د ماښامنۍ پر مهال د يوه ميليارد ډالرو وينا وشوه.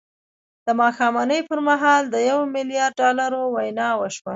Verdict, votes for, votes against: accepted, 2, 0